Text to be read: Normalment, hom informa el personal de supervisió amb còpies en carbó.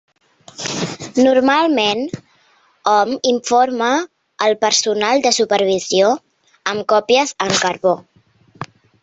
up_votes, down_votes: 4, 1